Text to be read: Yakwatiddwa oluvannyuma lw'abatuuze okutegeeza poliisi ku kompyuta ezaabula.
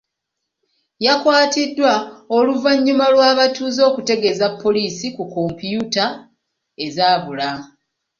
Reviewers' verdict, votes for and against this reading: rejected, 0, 2